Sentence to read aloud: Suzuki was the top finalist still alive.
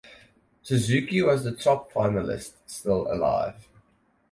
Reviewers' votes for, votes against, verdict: 4, 0, accepted